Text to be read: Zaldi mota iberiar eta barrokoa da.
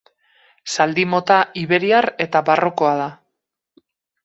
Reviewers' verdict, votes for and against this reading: accepted, 4, 0